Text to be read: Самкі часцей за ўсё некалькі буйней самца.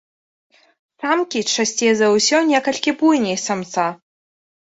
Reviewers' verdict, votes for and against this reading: rejected, 0, 2